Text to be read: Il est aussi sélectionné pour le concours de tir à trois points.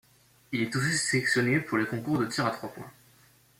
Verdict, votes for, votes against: accepted, 2, 0